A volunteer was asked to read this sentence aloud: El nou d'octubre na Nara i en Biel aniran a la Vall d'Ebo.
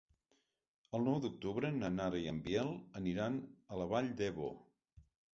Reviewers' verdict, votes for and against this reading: accepted, 4, 0